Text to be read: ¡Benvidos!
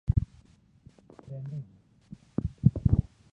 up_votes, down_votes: 0, 2